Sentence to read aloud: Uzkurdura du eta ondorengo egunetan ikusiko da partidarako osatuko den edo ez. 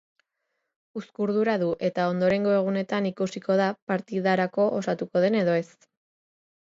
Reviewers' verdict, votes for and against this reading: accepted, 2, 0